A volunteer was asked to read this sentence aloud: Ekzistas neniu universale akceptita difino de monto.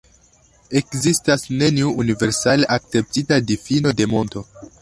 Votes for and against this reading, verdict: 2, 0, accepted